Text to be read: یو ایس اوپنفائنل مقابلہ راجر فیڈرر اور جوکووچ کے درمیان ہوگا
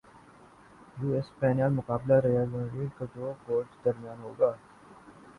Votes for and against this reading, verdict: 3, 0, accepted